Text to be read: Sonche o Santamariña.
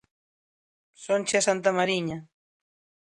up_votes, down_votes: 1, 2